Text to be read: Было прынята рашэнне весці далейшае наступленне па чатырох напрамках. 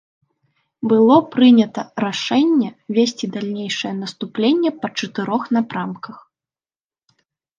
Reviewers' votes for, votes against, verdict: 1, 2, rejected